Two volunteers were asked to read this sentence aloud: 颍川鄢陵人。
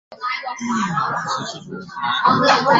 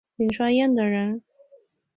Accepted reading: second